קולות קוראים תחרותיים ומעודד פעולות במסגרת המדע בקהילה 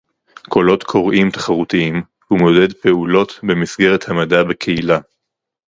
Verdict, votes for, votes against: rejected, 2, 2